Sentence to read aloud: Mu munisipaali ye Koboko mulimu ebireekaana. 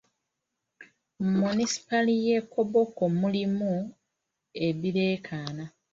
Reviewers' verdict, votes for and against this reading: accepted, 2, 0